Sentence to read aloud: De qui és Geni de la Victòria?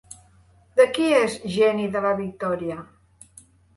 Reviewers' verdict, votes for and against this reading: accepted, 3, 0